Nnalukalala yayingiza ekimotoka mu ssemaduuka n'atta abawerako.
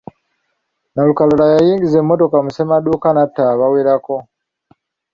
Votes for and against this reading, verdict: 0, 2, rejected